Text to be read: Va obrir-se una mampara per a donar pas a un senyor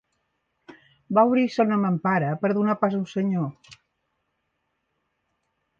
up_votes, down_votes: 2, 1